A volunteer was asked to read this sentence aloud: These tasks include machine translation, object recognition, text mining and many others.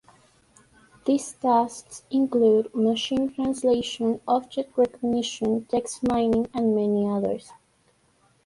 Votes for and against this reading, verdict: 2, 0, accepted